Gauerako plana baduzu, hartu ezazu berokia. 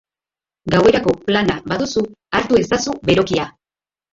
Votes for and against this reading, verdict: 1, 2, rejected